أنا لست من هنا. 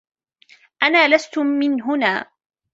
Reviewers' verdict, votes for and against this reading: rejected, 1, 2